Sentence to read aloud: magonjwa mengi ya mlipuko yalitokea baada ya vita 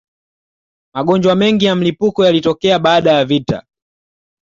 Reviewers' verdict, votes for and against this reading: accepted, 2, 0